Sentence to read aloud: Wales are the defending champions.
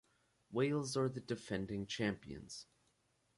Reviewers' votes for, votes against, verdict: 2, 2, rejected